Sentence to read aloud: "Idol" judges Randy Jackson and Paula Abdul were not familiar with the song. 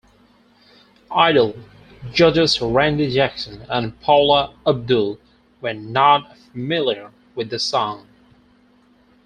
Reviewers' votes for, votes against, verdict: 4, 2, accepted